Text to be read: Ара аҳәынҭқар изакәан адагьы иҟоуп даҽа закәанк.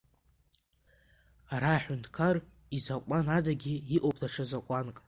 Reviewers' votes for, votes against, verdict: 2, 1, accepted